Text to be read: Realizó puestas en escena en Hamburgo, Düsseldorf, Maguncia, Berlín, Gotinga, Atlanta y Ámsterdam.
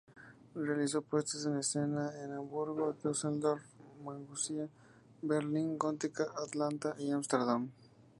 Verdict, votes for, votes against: rejected, 2, 2